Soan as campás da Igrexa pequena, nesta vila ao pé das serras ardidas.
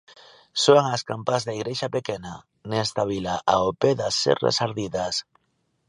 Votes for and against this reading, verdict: 2, 0, accepted